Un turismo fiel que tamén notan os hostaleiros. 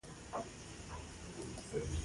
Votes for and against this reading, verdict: 0, 2, rejected